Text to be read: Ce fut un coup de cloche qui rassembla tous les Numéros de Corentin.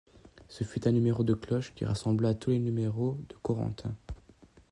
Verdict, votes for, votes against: rejected, 1, 2